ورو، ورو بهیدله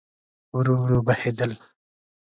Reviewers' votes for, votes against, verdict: 2, 0, accepted